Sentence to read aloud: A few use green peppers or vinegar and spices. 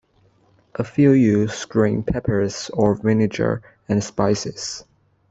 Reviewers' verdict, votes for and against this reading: accepted, 2, 1